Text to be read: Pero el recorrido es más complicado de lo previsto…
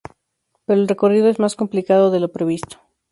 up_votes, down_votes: 2, 0